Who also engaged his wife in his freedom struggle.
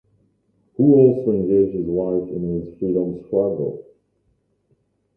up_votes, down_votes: 1, 5